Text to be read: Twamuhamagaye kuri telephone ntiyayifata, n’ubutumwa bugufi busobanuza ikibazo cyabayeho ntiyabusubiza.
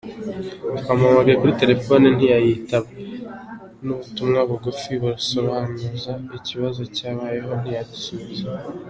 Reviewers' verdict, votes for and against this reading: accepted, 2, 1